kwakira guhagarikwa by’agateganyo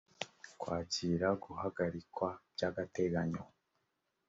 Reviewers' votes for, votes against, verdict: 3, 0, accepted